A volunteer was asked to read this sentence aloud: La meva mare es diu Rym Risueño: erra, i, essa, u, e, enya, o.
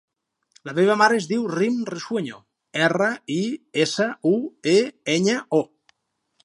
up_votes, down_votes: 2, 0